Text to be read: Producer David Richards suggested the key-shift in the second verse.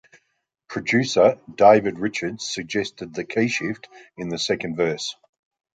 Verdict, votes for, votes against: accepted, 3, 0